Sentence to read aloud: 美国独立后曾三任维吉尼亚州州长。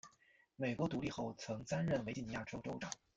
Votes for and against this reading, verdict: 1, 2, rejected